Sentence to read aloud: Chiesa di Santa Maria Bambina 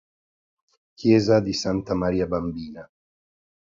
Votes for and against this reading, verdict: 3, 0, accepted